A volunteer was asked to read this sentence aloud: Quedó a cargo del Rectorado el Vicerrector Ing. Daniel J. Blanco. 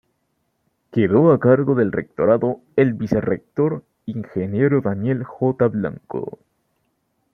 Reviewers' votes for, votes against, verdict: 2, 0, accepted